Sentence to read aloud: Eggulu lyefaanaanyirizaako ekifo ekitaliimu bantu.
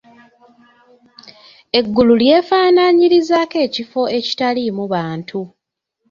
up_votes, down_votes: 2, 1